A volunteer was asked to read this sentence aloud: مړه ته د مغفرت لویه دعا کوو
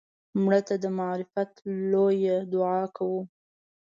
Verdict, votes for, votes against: rejected, 1, 2